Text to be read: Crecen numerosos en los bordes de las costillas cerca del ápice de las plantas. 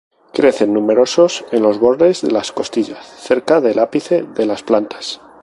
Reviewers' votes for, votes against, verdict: 2, 0, accepted